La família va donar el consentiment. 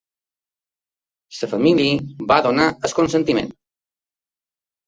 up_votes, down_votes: 1, 2